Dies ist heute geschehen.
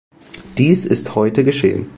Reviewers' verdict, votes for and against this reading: accepted, 2, 0